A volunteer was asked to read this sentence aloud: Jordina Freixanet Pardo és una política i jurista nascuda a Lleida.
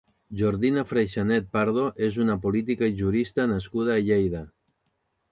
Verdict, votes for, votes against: accepted, 2, 0